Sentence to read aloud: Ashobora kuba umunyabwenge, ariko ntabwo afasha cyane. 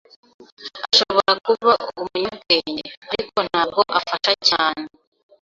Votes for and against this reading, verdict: 0, 2, rejected